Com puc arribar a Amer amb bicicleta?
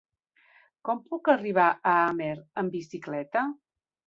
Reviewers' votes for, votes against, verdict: 1, 3, rejected